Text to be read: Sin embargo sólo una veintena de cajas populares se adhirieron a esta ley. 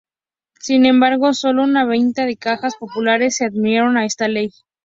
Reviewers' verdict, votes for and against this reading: rejected, 0, 2